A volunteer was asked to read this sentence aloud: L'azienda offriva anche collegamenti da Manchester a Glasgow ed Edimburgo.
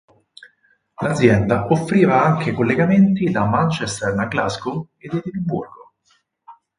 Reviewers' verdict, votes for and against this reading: accepted, 6, 4